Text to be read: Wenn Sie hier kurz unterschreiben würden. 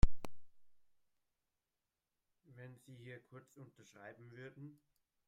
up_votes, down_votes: 1, 2